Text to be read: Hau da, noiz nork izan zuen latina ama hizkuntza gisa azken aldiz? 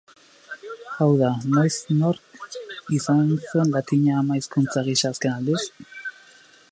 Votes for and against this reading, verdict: 2, 2, rejected